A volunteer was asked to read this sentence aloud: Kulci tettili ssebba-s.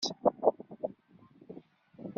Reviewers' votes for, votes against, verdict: 0, 2, rejected